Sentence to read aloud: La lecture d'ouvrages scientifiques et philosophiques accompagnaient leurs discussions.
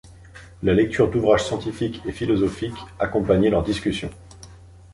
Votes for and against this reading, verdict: 2, 0, accepted